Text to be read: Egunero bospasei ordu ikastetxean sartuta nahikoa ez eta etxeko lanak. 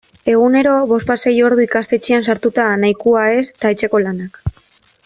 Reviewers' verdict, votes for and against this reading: accepted, 2, 0